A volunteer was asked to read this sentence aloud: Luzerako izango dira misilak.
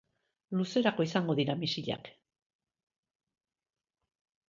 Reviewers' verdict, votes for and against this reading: accepted, 2, 0